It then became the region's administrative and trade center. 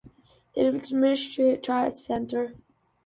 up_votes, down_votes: 0, 2